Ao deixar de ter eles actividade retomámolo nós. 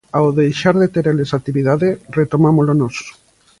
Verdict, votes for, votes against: accepted, 2, 0